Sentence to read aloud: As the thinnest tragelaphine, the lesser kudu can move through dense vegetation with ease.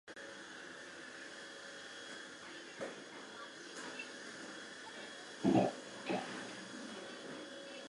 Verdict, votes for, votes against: rejected, 0, 2